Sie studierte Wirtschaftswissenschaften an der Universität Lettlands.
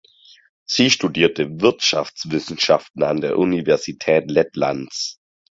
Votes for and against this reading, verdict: 4, 0, accepted